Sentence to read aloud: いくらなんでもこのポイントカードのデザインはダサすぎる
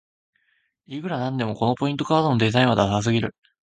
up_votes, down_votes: 1, 2